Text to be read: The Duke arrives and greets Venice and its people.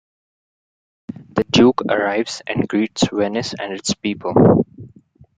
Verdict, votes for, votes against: rejected, 1, 2